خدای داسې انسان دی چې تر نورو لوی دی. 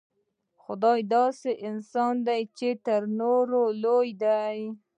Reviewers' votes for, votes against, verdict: 1, 2, rejected